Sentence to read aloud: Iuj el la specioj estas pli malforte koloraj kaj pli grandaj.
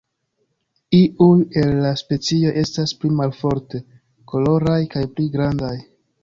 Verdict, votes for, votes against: rejected, 0, 2